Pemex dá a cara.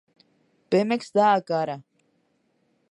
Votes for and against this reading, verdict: 2, 0, accepted